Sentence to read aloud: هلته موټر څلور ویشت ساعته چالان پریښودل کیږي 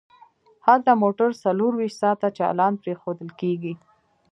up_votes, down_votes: 1, 2